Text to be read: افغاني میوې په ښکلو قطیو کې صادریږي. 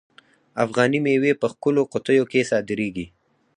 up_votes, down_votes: 0, 4